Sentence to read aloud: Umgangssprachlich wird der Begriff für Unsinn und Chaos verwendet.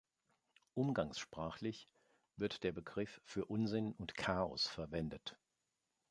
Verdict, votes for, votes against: accepted, 2, 0